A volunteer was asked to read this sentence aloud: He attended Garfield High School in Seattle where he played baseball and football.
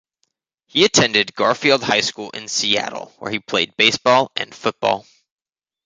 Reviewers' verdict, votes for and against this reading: accepted, 2, 0